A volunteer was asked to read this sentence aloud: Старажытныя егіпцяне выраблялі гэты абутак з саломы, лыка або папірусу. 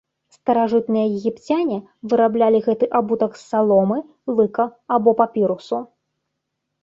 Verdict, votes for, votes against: accepted, 3, 0